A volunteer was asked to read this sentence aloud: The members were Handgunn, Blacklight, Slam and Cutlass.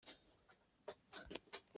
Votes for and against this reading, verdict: 0, 2, rejected